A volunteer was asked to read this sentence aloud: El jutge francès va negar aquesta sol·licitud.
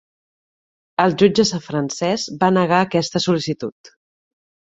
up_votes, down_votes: 0, 2